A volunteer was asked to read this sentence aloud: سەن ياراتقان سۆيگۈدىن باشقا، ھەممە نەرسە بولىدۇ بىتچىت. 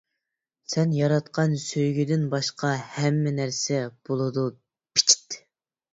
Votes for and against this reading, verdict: 0, 2, rejected